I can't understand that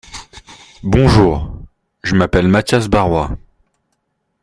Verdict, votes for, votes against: rejected, 0, 2